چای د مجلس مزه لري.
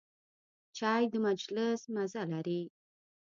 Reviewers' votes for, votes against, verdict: 1, 2, rejected